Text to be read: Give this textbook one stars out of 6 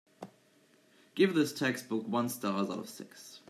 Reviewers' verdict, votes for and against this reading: rejected, 0, 2